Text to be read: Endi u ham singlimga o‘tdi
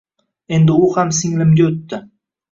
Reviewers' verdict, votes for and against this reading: accepted, 2, 0